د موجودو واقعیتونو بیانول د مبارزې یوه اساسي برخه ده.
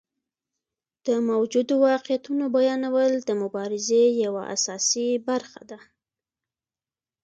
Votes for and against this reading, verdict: 2, 0, accepted